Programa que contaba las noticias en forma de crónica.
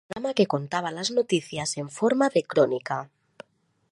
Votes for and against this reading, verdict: 0, 2, rejected